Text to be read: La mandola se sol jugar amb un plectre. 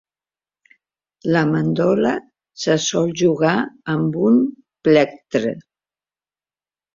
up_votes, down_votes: 2, 1